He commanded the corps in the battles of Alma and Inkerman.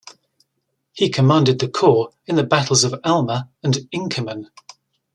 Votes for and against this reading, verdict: 2, 0, accepted